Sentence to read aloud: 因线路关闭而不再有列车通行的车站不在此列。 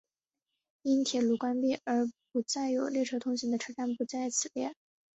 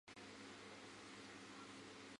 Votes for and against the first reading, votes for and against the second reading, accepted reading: 2, 0, 0, 4, first